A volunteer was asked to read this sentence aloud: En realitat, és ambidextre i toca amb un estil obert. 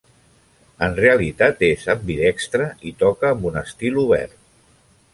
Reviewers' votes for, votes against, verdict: 2, 0, accepted